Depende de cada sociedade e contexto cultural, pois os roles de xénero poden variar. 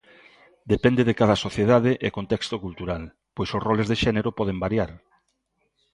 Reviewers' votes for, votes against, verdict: 2, 0, accepted